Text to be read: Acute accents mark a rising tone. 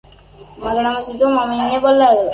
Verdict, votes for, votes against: rejected, 0, 2